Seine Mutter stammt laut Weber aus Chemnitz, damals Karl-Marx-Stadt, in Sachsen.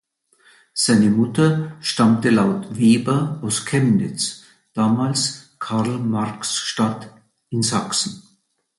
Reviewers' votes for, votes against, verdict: 0, 2, rejected